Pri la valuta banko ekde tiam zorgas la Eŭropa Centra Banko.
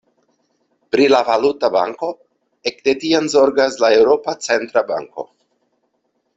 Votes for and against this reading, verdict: 2, 0, accepted